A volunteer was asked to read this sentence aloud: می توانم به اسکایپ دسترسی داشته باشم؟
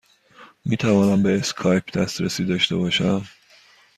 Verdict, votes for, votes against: accepted, 2, 0